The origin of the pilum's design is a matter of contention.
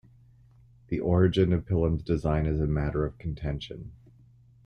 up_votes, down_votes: 1, 2